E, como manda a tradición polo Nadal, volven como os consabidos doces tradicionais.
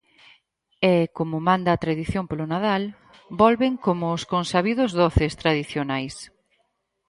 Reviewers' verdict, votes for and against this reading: accepted, 4, 0